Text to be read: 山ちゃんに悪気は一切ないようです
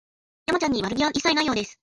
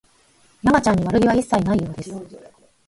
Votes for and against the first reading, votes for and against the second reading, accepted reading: 2, 0, 2, 4, first